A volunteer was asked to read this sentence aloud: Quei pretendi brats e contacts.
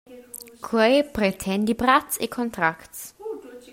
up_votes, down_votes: 0, 2